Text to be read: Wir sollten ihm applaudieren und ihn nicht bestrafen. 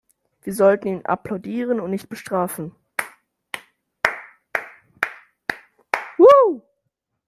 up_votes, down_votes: 0, 2